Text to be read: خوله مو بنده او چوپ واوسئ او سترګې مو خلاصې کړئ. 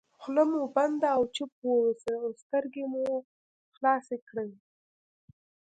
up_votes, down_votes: 2, 0